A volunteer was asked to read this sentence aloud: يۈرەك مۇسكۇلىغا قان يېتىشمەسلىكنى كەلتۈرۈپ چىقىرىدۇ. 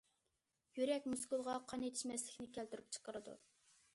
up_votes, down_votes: 2, 0